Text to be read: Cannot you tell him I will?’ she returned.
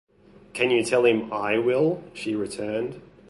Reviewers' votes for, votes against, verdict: 1, 2, rejected